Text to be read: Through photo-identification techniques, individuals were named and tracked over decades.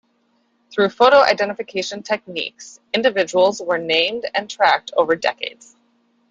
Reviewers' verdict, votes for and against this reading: accepted, 2, 1